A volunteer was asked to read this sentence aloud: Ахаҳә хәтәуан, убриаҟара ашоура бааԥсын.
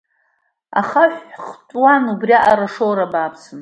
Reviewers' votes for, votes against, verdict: 2, 0, accepted